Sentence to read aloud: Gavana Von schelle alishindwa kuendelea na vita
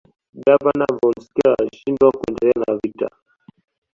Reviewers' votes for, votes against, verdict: 2, 0, accepted